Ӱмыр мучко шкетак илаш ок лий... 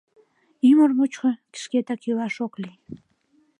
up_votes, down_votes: 2, 0